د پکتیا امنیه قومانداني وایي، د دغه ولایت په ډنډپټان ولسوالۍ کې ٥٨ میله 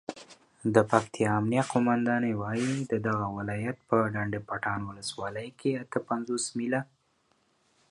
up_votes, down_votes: 0, 2